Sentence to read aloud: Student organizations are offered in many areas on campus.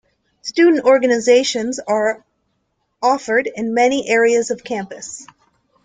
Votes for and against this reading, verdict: 0, 2, rejected